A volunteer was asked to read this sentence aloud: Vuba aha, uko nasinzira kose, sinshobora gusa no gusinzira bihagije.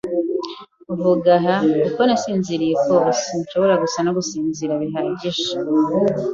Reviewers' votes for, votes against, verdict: 1, 2, rejected